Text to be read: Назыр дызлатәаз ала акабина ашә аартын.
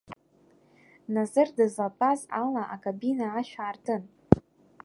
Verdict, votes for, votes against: accepted, 2, 0